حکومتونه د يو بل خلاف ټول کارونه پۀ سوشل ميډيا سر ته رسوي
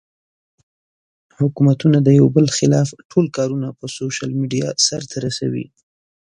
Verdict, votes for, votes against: accepted, 3, 0